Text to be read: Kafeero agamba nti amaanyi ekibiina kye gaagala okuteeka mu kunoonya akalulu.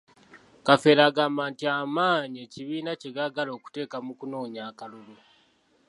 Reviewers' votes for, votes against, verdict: 2, 0, accepted